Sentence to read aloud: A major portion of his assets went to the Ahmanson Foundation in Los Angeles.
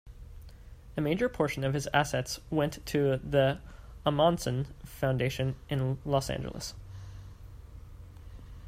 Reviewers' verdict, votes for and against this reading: accepted, 2, 0